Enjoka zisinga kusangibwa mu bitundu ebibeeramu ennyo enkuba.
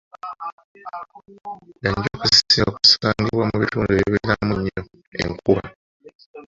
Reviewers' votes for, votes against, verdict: 0, 2, rejected